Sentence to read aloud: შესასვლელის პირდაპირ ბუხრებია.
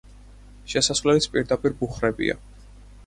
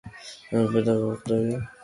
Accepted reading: first